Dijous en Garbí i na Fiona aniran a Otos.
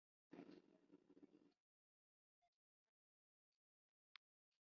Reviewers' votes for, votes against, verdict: 0, 2, rejected